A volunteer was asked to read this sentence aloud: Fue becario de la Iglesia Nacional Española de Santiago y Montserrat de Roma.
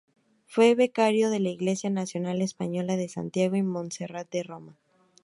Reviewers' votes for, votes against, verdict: 2, 0, accepted